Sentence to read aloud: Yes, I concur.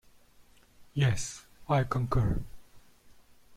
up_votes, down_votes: 2, 0